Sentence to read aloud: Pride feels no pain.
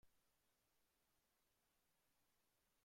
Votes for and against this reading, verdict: 0, 2, rejected